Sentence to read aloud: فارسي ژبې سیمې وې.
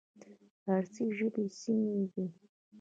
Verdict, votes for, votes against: rejected, 0, 2